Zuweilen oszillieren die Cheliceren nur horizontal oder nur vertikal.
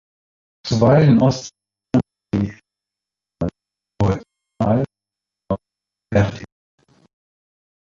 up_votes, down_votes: 0, 2